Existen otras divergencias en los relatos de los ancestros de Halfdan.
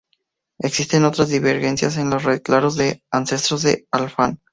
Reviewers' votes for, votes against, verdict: 0, 4, rejected